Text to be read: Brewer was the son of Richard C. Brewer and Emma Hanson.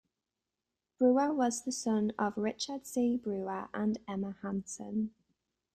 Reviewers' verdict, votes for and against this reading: accepted, 2, 0